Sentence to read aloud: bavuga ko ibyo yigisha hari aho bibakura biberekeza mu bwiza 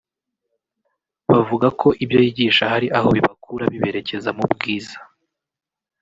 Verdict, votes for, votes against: rejected, 0, 2